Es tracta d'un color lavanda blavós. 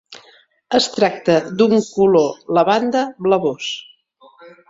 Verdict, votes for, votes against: accepted, 2, 0